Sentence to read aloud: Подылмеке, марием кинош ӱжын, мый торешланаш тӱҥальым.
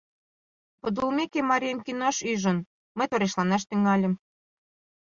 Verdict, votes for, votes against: accepted, 2, 0